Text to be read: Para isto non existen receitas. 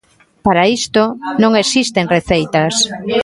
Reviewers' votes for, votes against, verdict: 1, 2, rejected